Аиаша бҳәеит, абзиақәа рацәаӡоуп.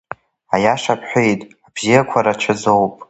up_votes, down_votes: 2, 0